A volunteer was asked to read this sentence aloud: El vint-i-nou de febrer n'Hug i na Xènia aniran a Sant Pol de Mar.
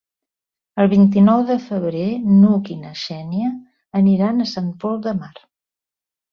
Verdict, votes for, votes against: accepted, 3, 0